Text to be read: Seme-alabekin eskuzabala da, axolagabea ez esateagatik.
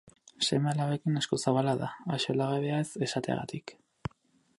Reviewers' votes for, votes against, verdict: 2, 2, rejected